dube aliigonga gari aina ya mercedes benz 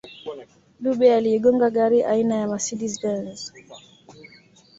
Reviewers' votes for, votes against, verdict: 2, 1, accepted